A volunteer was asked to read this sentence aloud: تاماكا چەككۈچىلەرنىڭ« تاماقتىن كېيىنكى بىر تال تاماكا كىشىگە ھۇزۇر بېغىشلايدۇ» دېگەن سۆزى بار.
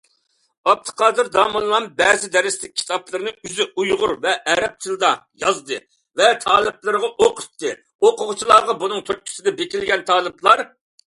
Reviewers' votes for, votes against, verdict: 0, 2, rejected